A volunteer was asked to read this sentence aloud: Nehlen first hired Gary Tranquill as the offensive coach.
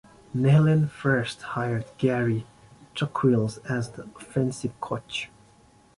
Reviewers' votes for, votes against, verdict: 0, 2, rejected